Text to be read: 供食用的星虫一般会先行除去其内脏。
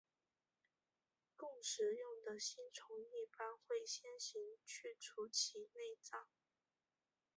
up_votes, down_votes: 0, 2